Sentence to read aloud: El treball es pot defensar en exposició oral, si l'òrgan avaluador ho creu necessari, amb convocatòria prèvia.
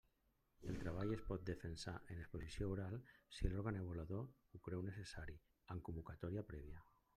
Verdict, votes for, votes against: accepted, 2, 1